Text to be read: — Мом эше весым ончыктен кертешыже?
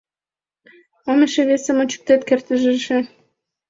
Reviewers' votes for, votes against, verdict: 0, 2, rejected